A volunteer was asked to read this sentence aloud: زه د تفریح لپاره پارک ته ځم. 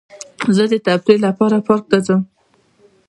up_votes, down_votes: 2, 1